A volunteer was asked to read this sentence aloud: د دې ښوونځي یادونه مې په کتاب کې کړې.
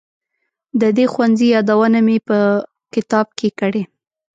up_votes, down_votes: 2, 0